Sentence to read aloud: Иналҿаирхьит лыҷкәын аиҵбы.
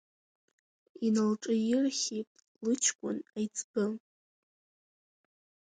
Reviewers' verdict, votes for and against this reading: accepted, 2, 0